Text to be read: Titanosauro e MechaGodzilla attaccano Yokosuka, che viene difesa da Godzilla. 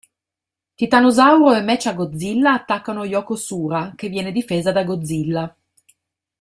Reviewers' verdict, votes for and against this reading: rejected, 1, 2